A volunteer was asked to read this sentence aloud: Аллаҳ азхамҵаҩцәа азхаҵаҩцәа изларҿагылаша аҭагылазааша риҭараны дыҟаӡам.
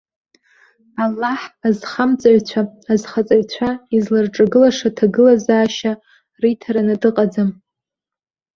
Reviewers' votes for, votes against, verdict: 2, 0, accepted